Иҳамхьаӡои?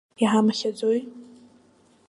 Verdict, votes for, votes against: accepted, 2, 0